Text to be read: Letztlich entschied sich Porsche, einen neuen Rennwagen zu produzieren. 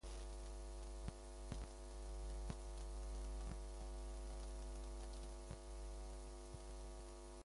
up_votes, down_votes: 0, 2